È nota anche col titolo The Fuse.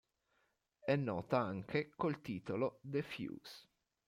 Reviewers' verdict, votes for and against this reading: accepted, 2, 0